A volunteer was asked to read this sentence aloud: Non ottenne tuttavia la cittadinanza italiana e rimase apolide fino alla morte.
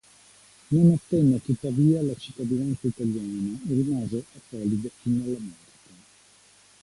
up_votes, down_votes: 2, 0